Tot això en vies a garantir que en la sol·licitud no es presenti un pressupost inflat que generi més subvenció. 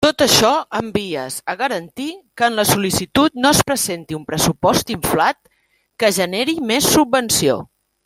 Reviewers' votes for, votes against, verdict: 1, 2, rejected